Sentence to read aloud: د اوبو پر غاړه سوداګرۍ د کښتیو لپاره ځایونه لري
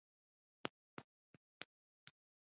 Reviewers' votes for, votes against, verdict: 0, 2, rejected